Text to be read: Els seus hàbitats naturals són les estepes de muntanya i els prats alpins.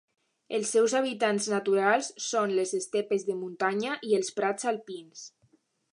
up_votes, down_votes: 1, 2